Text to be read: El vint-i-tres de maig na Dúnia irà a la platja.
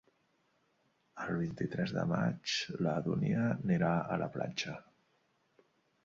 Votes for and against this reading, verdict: 1, 2, rejected